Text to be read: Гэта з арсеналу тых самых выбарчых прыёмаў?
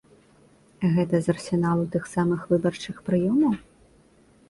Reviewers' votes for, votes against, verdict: 2, 0, accepted